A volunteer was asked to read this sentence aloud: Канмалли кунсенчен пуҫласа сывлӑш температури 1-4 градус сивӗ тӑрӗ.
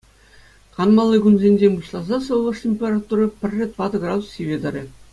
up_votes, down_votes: 0, 2